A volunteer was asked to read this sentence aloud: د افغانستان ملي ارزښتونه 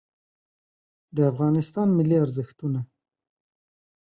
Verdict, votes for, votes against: accepted, 2, 0